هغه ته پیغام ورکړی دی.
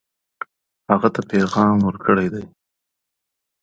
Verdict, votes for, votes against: rejected, 0, 2